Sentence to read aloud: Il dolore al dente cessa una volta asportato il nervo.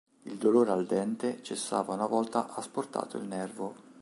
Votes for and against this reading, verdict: 1, 2, rejected